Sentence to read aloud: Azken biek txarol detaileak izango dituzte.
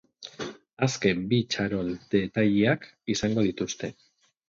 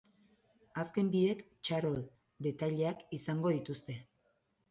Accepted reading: second